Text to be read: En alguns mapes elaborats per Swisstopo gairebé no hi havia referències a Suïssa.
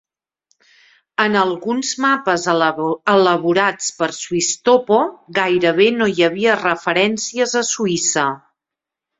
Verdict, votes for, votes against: rejected, 1, 2